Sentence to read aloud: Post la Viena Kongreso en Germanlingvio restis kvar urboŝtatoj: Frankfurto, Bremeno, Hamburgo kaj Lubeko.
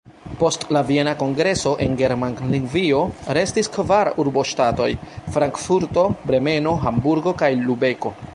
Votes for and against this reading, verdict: 0, 2, rejected